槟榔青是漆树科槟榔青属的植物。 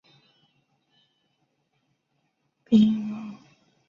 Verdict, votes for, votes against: rejected, 1, 5